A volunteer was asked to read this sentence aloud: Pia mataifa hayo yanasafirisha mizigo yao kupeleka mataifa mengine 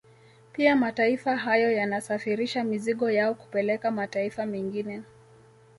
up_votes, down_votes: 2, 0